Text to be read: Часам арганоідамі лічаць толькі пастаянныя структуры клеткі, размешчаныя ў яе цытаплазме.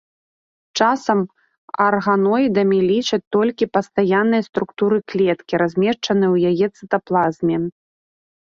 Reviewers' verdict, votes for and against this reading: accepted, 2, 0